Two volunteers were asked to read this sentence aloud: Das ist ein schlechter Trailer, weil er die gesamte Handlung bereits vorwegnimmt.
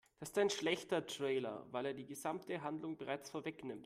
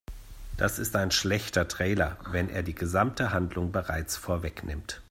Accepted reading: first